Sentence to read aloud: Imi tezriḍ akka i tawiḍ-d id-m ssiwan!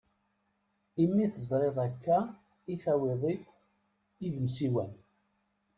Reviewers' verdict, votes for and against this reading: rejected, 0, 2